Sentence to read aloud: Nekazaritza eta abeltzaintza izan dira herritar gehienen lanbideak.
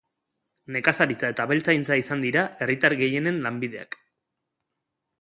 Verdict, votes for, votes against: accepted, 2, 0